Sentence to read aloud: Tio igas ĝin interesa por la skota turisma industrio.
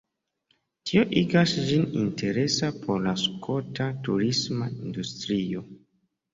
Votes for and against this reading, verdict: 2, 0, accepted